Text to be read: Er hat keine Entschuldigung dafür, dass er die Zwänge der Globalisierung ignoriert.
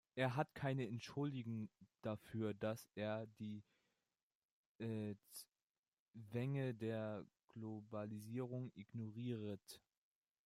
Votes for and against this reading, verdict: 0, 2, rejected